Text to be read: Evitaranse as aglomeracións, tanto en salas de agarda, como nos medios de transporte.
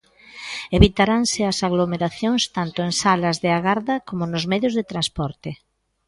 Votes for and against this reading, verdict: 2, 0, accepted